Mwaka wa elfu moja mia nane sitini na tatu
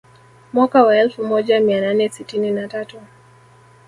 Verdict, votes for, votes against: rejected, 1, 2